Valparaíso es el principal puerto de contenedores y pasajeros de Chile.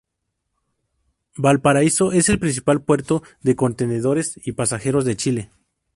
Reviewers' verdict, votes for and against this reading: accepted, 4, 0